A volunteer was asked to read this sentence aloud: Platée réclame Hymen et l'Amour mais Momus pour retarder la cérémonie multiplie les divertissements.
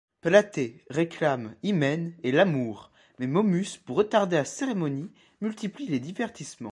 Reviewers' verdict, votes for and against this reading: accepted, 2, 1